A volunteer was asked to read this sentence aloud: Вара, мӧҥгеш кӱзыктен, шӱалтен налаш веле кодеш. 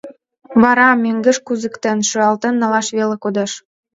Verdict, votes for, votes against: rejected, 1, 2